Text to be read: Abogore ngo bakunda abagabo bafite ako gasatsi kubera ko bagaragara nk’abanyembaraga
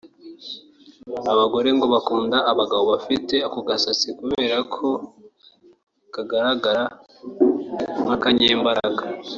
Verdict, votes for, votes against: rejected, 0, 2